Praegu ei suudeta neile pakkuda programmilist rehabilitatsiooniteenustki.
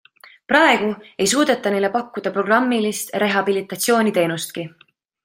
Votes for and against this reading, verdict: 2, 0, accepted